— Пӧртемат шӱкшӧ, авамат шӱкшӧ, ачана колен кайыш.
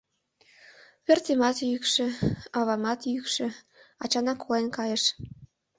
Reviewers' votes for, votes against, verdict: 2, 3, rejected